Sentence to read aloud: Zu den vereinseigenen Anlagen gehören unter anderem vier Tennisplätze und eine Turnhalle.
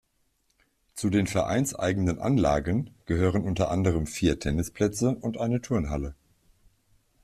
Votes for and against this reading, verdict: 2, 1, accepted